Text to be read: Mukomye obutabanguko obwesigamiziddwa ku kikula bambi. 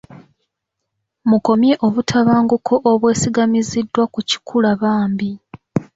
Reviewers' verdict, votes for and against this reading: accepted, 2, 0